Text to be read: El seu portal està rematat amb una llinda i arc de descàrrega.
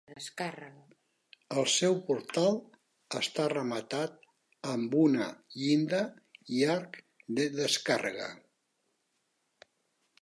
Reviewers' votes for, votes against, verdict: 0, 2, rejected